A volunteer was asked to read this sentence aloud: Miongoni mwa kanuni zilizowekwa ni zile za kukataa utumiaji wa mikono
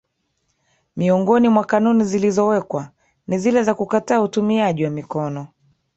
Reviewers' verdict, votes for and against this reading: accepted, 2, 1